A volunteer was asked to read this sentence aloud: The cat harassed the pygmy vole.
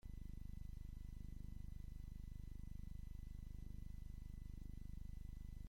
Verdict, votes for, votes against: rejected, 0, 2